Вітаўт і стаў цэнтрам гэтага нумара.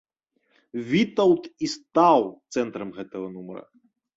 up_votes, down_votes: 2, 0